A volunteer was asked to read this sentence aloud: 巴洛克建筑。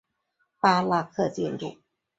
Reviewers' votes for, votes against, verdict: 0, 2, rejected